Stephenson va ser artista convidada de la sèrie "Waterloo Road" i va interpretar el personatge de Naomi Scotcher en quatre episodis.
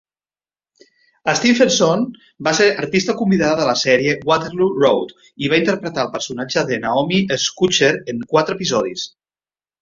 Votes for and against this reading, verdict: 2, 0, accepted